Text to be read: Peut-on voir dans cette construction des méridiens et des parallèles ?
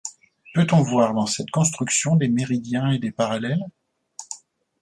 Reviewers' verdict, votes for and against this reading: accepted, 2, 0